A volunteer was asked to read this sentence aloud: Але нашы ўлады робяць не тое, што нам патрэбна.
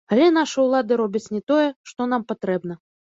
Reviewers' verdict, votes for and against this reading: accepted, 2, 0